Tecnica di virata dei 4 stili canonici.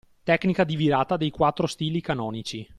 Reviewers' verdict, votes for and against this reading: rejected, 0, 2